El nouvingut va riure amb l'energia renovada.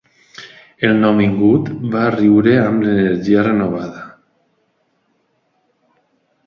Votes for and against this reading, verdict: 2, 0, accepted